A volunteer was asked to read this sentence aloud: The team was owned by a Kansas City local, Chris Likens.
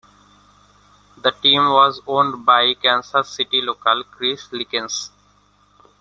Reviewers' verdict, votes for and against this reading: rejected, 1, 2